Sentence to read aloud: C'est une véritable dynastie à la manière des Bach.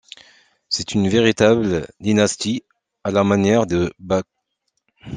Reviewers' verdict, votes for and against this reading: rejected, 1, 2